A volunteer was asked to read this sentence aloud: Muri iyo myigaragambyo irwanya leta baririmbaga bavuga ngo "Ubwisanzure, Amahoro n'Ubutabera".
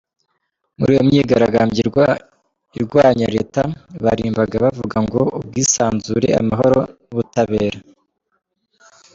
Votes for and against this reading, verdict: 0, 2, rejected